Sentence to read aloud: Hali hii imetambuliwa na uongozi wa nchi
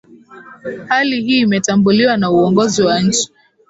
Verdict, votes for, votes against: accepted, 4, 0